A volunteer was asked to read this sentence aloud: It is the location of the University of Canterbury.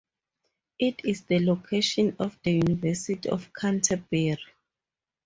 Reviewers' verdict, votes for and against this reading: rejected, 2, 2